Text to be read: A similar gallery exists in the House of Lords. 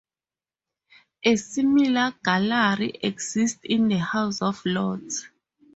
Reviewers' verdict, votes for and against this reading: rejected, 0, 2